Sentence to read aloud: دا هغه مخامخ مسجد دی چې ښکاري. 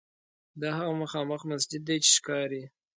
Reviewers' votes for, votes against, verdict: 2, 0, accepted